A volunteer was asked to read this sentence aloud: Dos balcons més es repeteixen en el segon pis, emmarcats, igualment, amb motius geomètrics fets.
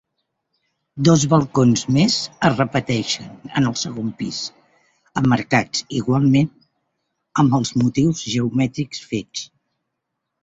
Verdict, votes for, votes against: rejected, 0, 2